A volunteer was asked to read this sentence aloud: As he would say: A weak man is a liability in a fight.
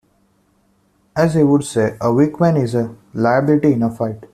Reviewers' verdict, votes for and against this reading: rejected, 0, 2